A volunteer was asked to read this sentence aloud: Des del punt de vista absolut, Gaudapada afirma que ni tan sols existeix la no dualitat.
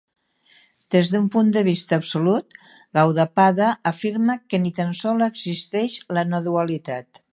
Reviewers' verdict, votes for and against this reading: rejected, 1, 2